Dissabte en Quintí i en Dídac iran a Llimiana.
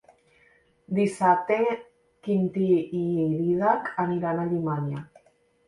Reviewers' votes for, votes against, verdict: 0, 2, rejected